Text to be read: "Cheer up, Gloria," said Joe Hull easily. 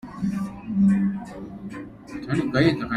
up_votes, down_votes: 1, 2